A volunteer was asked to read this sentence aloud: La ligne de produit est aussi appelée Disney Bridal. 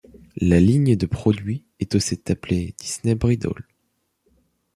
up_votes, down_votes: 1, 2